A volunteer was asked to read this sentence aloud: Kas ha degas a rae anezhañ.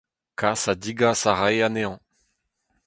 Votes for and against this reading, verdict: 0, 4, rejected